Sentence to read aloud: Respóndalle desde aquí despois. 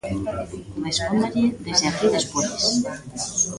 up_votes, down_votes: 0, 2